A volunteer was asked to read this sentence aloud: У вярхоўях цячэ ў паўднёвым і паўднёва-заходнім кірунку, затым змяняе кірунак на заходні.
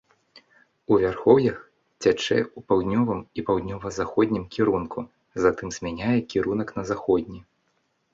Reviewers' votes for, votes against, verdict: 2, 0, accepted